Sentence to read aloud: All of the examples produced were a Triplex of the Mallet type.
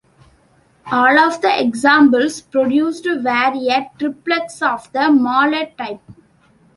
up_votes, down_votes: 2, 0